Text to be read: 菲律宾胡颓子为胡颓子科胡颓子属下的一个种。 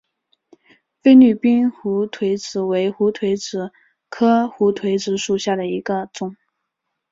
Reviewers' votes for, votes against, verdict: 2, 1, accepted